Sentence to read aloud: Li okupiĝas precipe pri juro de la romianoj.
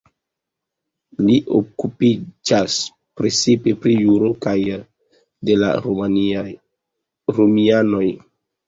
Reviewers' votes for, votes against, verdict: 2, 4, rejected